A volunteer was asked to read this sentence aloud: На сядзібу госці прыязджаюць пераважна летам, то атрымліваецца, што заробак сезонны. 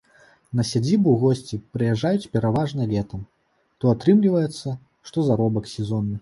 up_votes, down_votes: 2, 0